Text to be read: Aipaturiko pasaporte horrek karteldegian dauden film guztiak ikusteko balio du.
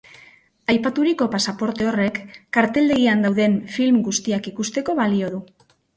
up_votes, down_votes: 2, 0